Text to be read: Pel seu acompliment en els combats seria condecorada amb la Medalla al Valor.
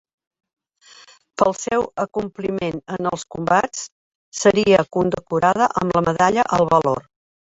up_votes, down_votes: 2, 1